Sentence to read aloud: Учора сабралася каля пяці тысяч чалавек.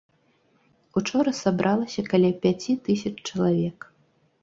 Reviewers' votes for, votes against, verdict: 2, 0, accepted